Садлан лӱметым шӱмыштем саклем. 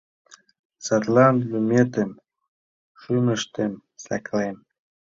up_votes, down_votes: 2, 1